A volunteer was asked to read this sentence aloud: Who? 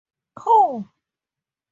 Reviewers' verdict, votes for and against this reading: accepted, 4, 0